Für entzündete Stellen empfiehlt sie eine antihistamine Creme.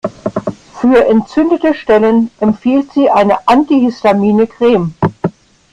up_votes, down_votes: 1, 2